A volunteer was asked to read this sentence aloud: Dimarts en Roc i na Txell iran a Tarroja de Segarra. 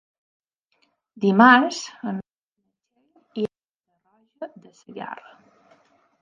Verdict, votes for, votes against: rejected, 0, 5